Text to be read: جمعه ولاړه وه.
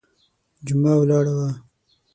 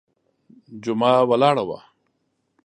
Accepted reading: second